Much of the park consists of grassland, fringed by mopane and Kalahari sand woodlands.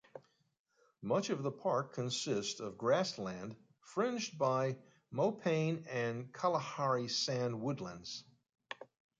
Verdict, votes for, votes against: accepted, 2, 0